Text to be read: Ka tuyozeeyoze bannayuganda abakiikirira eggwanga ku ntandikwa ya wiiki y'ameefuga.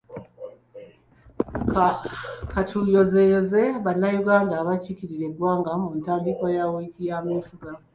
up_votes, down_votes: 3, 2